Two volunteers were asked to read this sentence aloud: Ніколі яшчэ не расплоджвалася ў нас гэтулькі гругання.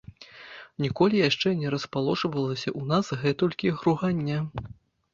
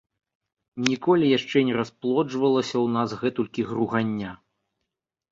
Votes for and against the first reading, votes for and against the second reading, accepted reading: 1, 2, 2, 0, second